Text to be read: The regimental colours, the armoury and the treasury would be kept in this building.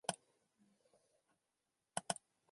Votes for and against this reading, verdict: 0, 2, rejected